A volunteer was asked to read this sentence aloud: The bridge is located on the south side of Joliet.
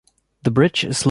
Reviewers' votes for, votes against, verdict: 0, 2, rejected